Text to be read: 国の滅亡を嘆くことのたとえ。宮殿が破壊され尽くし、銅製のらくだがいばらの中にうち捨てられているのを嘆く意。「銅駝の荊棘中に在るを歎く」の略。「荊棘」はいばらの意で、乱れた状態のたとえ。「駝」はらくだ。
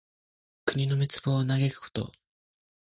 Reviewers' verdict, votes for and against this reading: rejected, 0, 2